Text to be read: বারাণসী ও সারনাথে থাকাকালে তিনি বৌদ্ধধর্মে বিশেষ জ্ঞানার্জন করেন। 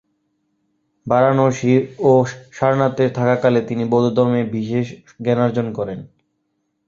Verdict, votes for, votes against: rejected, 1, 2